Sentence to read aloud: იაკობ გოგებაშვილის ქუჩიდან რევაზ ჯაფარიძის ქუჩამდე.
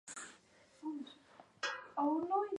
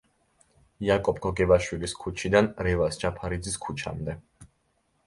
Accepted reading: second